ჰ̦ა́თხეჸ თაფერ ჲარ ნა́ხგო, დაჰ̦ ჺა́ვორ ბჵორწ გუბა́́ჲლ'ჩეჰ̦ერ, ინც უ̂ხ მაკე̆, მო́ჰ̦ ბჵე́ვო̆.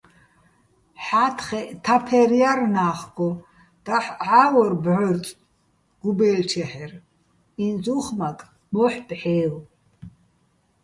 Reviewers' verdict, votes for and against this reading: rejected, 1, 2